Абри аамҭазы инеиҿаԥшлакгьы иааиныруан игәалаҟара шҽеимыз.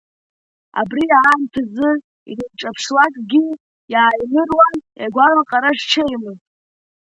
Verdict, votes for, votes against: rejected, 0, 2